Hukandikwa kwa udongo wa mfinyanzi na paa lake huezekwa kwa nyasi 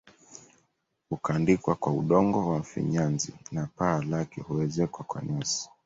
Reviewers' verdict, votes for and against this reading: rejected, 1, 2